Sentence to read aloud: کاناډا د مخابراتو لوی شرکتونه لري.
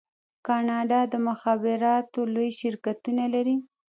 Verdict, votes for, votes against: rejected, 0, 2